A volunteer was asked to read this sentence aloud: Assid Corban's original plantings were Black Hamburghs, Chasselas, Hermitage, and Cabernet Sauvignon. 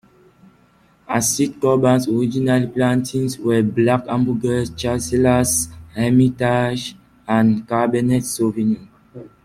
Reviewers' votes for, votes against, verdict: 0, 2, rejected